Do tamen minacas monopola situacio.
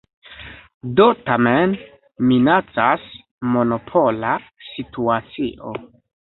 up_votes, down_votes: 2, 0